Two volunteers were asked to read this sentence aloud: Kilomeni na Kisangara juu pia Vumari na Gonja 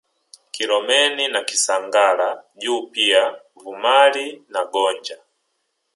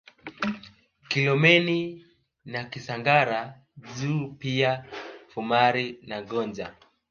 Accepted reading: second